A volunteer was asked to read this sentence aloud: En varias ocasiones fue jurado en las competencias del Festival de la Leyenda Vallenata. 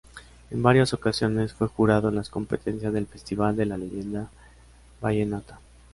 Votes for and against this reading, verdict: 2, 0, accepted